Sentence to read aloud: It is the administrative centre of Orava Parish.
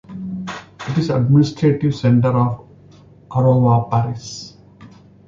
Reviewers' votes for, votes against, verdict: 0, 2, rejected